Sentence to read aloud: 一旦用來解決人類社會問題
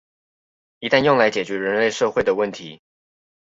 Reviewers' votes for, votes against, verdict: 0, 2, rejected